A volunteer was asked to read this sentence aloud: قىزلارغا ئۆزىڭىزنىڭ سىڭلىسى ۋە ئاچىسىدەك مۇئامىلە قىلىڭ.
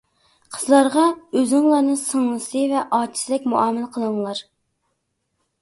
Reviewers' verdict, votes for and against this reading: rejected, 0, 2